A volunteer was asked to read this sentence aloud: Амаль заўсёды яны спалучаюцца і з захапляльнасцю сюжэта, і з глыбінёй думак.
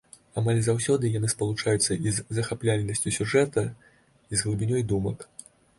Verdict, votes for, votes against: accepted, 2, 0